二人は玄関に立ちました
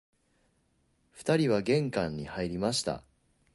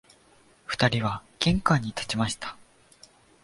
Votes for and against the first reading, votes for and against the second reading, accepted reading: 3, 4, 2, 0, second